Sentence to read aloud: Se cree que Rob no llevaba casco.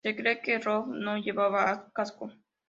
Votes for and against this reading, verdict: 2, 0, accepted